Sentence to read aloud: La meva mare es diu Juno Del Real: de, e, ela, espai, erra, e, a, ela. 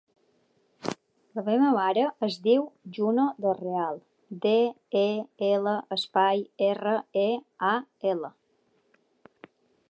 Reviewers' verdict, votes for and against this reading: accepted, 4, 0